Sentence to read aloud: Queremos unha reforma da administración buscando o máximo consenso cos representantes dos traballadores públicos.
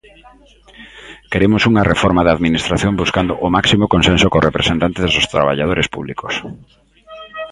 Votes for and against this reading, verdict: 1, 2, rejected